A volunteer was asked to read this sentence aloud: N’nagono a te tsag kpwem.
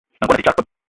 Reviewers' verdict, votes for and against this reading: rejected, 1, 2